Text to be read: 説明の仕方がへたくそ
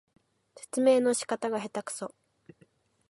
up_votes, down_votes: 4, 0